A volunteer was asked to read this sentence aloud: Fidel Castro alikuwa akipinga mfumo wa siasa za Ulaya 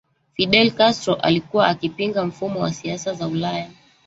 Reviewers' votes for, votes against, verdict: 1, 2, rejected